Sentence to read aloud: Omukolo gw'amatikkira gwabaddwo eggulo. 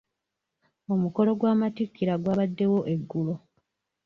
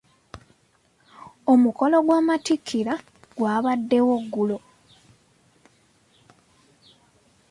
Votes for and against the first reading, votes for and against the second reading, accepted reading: 1, 2, 2, 0, second